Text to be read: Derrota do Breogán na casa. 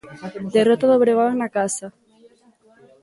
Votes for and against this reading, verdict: 1, 2, rejected